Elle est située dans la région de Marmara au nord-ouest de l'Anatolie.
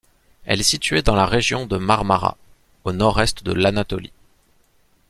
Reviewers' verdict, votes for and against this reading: rejected, 0, 2